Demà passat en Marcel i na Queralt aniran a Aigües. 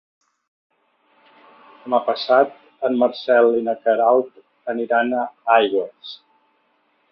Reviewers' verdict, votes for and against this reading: rejected, 1, 2